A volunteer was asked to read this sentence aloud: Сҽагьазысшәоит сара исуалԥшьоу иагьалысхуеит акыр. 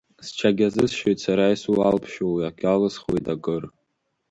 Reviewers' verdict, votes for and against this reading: accepted, 2, 1